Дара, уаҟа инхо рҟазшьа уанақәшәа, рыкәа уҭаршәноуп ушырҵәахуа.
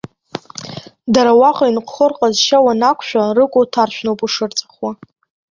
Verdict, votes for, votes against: rejected, 1, 2